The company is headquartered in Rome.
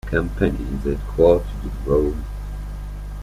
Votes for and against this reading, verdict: 0, 2, rejected